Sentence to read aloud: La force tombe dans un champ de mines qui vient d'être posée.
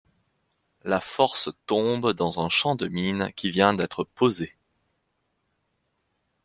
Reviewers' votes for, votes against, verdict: 2, 0, accepted